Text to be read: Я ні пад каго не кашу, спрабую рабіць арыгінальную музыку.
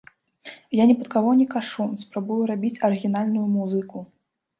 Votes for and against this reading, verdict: 2, 0, accepted